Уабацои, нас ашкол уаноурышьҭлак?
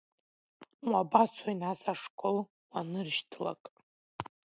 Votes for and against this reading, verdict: 0, 2, rejected